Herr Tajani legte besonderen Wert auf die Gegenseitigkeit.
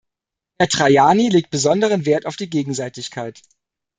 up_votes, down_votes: 0, 2